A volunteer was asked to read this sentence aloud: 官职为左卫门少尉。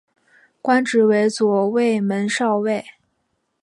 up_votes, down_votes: 2, 0